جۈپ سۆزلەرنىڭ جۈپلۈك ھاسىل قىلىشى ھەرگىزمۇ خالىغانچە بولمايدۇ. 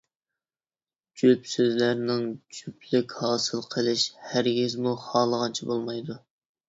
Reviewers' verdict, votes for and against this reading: rejected, 1, 2